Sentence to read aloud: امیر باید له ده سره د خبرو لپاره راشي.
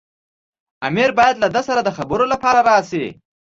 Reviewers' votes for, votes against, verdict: 1, 2, rejected